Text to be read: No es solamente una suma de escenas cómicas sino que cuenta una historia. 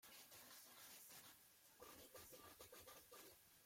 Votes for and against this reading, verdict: 0, 2, rejected